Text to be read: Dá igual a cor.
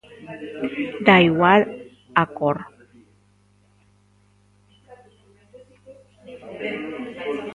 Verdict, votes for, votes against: rejected, 1, 2